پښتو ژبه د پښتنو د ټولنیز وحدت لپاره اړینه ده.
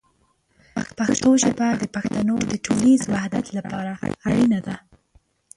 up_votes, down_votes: 0, 2